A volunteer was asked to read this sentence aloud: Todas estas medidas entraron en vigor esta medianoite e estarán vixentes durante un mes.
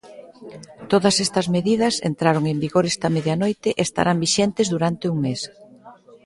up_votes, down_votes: 2, 0